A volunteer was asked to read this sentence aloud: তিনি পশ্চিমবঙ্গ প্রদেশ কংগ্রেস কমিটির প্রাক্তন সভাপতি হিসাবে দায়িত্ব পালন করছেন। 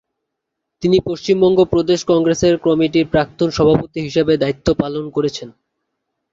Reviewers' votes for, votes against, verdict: 1, 2, rejected